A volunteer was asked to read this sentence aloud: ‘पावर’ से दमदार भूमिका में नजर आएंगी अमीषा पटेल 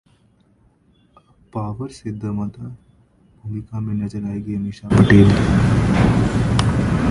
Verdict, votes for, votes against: rejected, 1, 2